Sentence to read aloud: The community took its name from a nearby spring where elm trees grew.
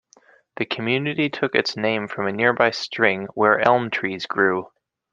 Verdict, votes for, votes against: rejected, 0, 2